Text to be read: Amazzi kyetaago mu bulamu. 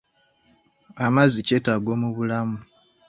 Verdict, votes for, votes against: accepted, 2, 1